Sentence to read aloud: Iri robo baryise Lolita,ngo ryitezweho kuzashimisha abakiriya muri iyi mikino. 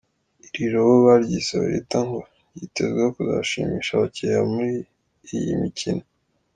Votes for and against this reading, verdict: 2, 0, accepted